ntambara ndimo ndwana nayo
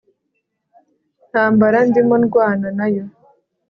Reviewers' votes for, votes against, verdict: 2, 0, accepted